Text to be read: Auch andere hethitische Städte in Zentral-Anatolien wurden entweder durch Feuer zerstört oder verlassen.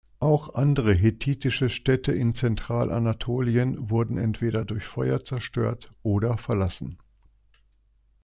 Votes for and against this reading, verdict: 2, 0, accepted